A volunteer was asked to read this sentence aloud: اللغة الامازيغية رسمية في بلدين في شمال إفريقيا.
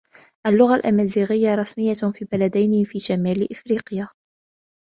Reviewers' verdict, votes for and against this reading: accepted, 2, 0